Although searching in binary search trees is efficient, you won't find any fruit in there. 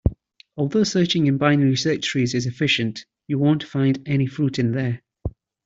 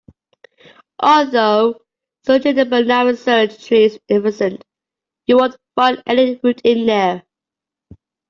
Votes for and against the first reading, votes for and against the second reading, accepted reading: 2, 0, 1, 2, first